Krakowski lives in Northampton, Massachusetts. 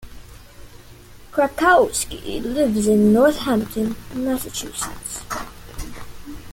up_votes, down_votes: 2, 0